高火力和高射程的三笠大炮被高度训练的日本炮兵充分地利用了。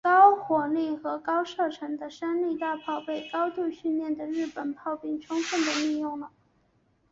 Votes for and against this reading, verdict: 2, 2, rejected